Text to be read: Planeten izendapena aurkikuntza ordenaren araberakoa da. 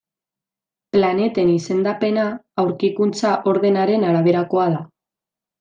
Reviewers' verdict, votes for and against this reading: accepted, 2, 0